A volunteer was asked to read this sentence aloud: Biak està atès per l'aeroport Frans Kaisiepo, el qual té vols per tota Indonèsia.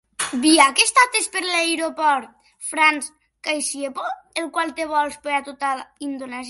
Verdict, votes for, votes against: rejected, 0, 2